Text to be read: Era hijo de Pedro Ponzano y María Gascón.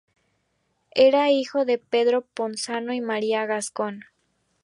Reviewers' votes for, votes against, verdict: 2, 0, accepted